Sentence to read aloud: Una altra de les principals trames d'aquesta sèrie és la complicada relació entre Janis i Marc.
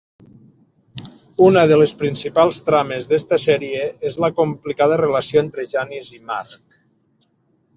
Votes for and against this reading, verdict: 1, 2, rejected